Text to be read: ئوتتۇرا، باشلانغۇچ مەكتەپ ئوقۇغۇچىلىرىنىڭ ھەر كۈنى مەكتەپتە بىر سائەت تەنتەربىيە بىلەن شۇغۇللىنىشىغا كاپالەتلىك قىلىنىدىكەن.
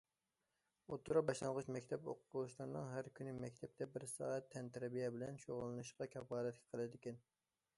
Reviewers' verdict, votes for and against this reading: accepted, 2, 1